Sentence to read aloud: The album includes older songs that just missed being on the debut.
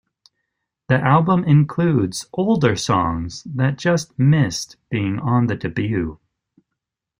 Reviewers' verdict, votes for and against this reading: rejected, 1, 2